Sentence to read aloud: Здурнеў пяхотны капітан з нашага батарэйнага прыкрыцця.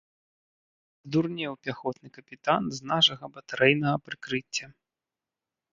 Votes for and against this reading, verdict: 0, 2, rejected